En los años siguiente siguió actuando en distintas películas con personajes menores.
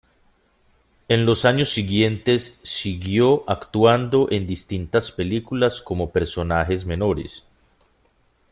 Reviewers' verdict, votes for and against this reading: rejected, 0, 2